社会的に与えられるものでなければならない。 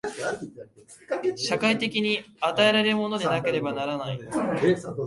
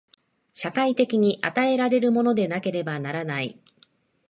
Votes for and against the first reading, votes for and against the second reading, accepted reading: 0, 2, 2, 0, second